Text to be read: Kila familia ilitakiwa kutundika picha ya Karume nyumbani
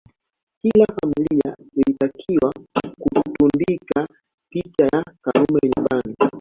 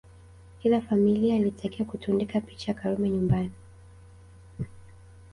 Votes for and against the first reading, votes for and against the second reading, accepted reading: 0, 2, 2, 0, second